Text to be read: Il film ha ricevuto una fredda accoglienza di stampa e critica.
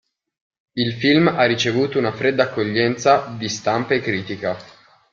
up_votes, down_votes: 2, 0